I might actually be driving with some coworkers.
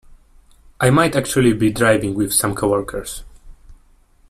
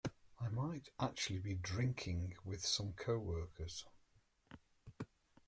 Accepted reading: first